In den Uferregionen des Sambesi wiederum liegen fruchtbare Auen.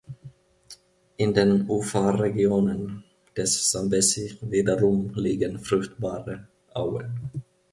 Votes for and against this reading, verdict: 0, 2, rejected